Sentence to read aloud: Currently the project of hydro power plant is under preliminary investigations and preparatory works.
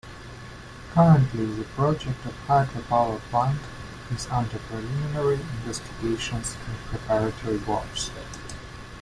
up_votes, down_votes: 2, 0